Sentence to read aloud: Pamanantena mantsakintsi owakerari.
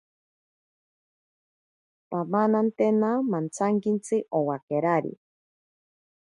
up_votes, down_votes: 2, 0